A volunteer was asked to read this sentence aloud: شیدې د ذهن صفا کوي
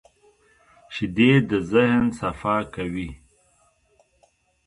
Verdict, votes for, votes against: accepted, 2, 1